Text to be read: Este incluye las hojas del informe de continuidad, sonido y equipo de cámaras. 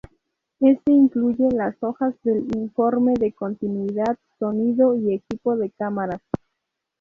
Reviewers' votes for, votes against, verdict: 0, 2, rejected